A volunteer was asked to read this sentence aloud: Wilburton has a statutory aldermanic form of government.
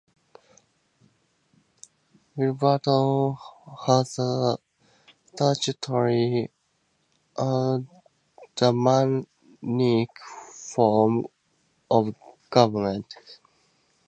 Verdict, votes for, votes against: rejected, 0, 2